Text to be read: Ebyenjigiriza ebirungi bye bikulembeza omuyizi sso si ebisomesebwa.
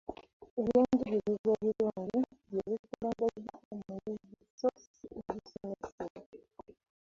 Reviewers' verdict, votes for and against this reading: rejected, 1, 2